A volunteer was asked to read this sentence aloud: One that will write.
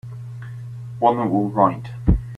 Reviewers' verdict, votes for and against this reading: rejected, 0, 3